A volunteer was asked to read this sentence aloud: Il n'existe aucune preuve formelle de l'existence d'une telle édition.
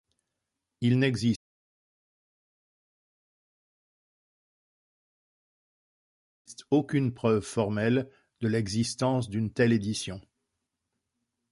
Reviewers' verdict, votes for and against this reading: rejected, 0, 2